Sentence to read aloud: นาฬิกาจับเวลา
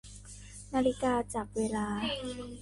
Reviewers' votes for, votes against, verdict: 1, 2, rejected